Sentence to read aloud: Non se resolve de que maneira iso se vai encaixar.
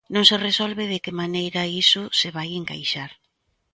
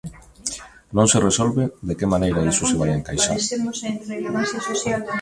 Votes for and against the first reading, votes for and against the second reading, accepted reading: 2, 0, 0, 2, first